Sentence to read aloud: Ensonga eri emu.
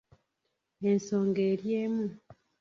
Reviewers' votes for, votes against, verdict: 0, 2, rejected